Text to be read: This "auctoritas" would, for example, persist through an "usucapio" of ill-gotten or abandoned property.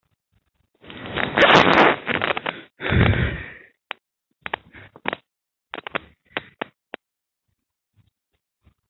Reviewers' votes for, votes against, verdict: 0, 2, rejected